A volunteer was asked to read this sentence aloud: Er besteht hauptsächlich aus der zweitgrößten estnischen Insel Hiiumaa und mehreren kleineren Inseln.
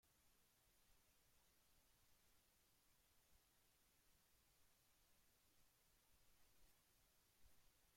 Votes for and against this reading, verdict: 0, 2, rejected